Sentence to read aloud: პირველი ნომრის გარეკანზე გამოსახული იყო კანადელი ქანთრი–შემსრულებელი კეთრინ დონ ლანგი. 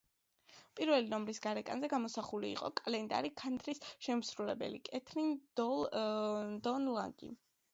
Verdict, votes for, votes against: rejected, 1, 2